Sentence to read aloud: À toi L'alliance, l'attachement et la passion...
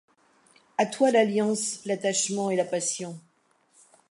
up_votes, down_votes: 2, 1